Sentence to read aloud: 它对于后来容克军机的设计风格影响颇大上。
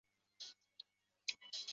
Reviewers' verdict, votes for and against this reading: rejected, 2, 5